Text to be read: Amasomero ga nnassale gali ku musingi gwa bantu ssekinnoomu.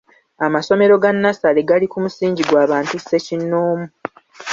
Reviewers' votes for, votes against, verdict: 2, 0, accepted